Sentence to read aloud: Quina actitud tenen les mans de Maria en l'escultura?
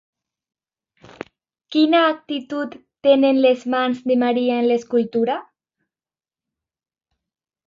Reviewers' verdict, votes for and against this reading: accepted, 2, 0